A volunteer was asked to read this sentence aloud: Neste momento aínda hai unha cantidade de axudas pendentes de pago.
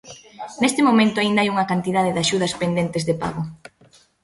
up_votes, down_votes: 2, 0